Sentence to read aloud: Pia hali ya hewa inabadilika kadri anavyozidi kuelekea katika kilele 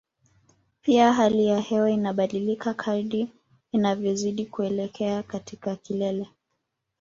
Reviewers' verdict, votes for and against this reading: rejected, 0, 2